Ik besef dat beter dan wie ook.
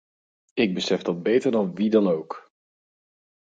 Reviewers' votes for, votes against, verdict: 2, 4, rejected